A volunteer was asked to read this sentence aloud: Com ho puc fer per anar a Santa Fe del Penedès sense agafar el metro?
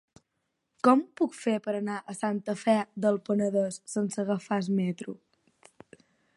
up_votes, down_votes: 5, 10